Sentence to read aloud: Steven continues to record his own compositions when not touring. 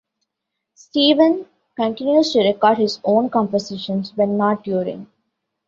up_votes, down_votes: 2, 1